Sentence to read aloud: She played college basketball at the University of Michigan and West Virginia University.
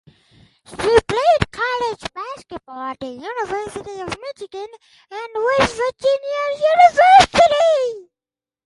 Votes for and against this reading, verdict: 0, 4, rejected